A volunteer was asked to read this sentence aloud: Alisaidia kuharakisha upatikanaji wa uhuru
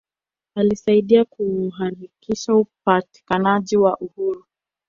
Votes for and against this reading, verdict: 1, 2, rejected